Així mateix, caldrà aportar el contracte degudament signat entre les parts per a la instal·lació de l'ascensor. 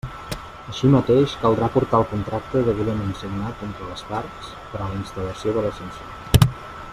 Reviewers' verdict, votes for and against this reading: accepted, 2, 1